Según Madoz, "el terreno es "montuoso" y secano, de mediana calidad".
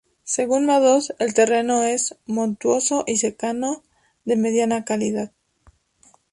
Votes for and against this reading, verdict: 2, 0, accepted